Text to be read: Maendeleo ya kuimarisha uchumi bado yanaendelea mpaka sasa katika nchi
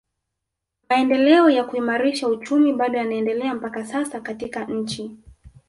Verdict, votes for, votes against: accepted, 7, 0